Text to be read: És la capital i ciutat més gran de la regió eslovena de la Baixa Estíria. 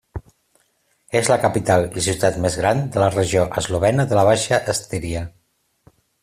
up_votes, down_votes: 2, 0